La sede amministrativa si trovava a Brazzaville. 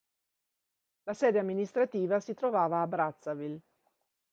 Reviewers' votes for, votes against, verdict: 2, 0, accepted